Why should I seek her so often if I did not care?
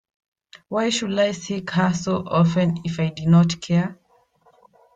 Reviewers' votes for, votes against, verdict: 1, 2, rejected